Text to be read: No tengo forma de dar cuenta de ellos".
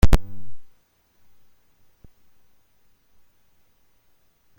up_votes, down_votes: 0, 2